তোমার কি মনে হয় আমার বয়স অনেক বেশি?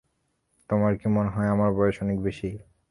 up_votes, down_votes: 3, 0